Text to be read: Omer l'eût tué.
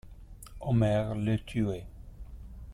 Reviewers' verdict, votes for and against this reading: rejected, 0, 2